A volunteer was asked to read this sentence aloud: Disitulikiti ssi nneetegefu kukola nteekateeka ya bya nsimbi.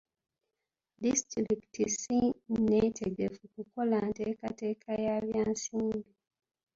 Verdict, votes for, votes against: accepted, 2, 0